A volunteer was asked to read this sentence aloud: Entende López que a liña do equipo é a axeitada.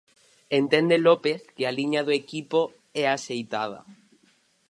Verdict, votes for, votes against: rejected, 2, 2